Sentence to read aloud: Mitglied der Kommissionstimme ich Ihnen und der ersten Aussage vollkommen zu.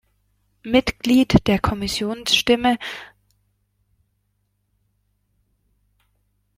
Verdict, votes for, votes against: rejected, 0, 2